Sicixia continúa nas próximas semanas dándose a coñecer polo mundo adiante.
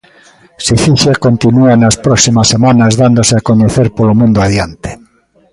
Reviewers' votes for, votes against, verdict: 2, 0, accepted